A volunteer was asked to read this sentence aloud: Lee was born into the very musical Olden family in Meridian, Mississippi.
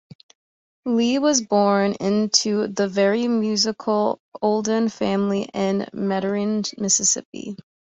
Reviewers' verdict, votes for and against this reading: rejected, 1, 2